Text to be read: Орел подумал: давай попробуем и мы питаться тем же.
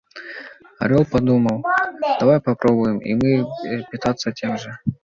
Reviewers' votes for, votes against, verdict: 2, 1, accepted